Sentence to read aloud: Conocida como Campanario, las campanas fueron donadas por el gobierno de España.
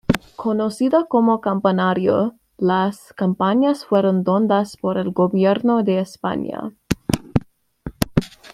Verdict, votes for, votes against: rejected, 1, 2